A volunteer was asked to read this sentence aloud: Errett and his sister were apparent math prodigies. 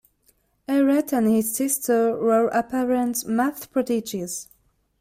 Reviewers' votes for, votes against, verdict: 2, 0, accepted